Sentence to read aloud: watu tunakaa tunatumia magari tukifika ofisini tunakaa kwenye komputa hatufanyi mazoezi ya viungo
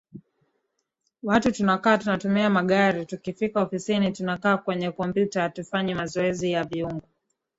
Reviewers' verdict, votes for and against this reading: rejected, 1, 2